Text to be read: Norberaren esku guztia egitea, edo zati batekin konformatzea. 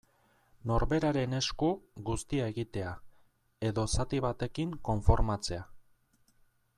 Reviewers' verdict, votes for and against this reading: accepted, 2, 0